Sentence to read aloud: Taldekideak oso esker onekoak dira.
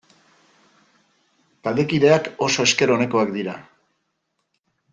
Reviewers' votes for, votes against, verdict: 2, 0, accepted